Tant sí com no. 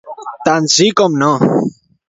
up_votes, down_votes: 2, 1